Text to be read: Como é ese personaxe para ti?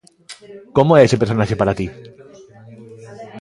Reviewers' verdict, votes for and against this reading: accepted, 2, 1